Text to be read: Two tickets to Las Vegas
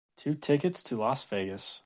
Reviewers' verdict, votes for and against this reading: accepted, 2, 0